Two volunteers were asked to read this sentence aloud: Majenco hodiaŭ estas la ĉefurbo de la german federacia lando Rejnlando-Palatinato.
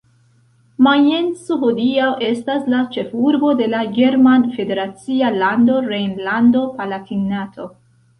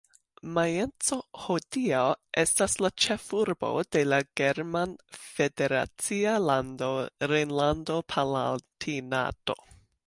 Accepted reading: second